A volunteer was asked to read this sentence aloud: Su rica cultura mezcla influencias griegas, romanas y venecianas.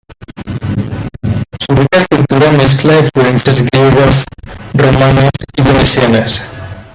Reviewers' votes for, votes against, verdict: 0, 2, rejected